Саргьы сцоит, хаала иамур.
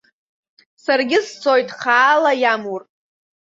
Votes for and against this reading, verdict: 2, 0, accepted